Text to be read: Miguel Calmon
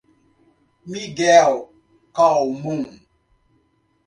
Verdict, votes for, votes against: rejected, 0, 2